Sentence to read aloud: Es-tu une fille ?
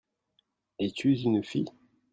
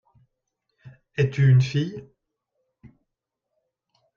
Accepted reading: second